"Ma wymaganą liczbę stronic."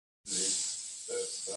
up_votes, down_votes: 0, 2